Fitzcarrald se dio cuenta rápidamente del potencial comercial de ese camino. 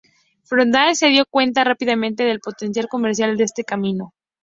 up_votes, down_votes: 0, 2